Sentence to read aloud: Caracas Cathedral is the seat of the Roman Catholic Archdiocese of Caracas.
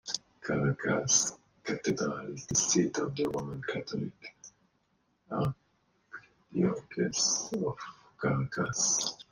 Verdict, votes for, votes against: rejected, 0, 2